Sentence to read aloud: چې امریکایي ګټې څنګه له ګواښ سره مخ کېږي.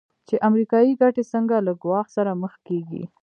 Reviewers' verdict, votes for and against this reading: accepted, 2, 1